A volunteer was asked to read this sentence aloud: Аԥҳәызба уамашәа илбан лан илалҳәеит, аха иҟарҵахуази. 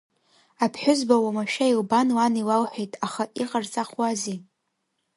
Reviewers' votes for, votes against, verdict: 2, 1, accepted